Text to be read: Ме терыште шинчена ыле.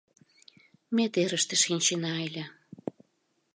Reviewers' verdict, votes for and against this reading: accepted, 2, 0